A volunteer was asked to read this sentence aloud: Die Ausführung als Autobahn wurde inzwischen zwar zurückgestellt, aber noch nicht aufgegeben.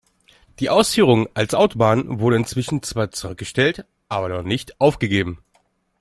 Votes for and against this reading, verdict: 1, 2, rejected